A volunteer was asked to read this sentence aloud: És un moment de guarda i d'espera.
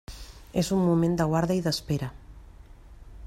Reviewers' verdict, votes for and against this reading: accepted, 3, 0